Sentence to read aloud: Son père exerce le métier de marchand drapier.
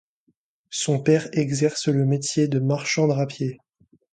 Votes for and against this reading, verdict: 2, 0, accepted